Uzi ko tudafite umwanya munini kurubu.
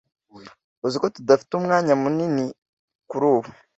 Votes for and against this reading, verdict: 2, 0, accepted